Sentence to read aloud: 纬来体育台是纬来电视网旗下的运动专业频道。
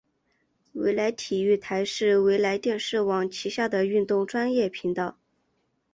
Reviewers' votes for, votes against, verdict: 2, 0, accepted